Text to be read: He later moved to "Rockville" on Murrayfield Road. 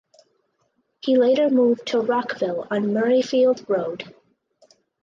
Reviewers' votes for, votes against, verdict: 4, 0, accepted